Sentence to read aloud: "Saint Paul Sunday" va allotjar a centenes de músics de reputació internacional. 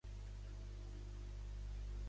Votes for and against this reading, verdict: 0, 2, rejected